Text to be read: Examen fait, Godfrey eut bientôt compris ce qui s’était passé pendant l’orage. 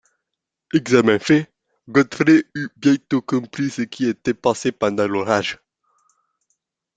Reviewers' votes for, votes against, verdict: 1, 2, rejected